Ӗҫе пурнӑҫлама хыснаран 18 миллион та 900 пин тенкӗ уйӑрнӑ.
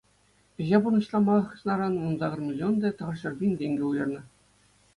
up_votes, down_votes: 0, 2